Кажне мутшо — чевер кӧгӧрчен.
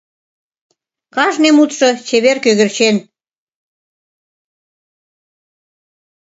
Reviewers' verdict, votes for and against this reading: accepted, 2, 0